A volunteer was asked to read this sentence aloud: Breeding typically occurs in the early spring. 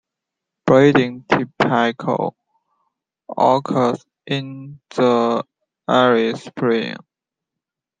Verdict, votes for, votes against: rejected, 1, 2